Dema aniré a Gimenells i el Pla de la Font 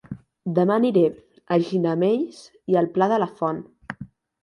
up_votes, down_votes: 0, 2